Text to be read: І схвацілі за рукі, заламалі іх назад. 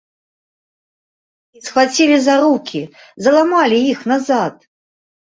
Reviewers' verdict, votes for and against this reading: rejected, 0, 2